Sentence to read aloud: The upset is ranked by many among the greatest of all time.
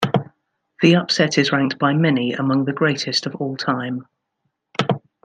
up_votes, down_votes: 2, 0